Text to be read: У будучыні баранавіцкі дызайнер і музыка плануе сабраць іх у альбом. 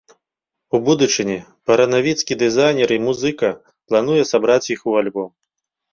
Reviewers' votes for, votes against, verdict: 1, 2, rejected